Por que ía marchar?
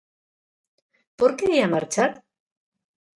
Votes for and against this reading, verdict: 2, 0, accepted